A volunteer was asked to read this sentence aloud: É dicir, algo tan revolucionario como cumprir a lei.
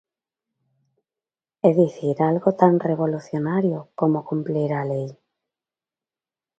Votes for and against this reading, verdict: 1, 2, rejected